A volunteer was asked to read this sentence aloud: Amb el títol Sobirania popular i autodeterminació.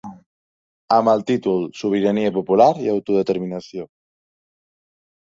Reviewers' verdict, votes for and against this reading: accepted, 2, 0